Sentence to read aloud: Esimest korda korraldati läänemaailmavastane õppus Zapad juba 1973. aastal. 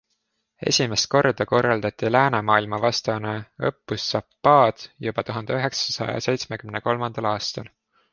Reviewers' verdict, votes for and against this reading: rejected, 0, 2